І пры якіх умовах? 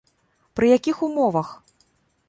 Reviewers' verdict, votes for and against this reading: rejected, 1, 2